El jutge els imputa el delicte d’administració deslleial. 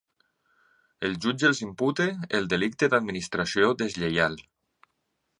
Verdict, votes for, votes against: accepted, 2, 0